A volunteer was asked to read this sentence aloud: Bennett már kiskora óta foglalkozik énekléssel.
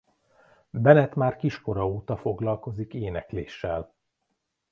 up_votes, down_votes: 2, 0